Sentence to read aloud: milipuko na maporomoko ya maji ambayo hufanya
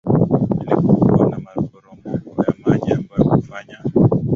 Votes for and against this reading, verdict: 2, 0, accepted